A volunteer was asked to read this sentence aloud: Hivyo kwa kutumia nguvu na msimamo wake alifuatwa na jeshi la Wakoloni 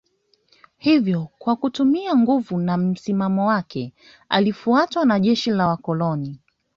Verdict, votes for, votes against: rejected, 0, 2